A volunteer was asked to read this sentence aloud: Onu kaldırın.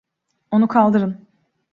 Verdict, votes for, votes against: accepted, 2, 0